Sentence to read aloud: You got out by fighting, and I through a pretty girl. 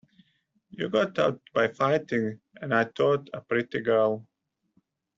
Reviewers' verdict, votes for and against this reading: rejected, 1, 2